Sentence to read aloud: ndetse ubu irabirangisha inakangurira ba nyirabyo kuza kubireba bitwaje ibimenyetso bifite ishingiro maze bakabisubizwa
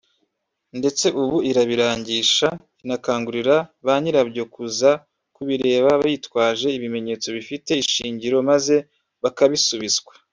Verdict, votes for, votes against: rejected, 0, 2